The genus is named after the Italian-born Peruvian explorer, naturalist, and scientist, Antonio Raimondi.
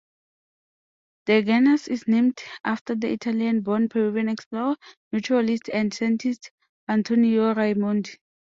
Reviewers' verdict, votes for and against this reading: accepted, 2, 0